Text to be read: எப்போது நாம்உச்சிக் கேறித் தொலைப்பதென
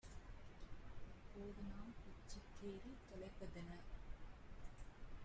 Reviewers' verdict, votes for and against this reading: rejected, 0, 2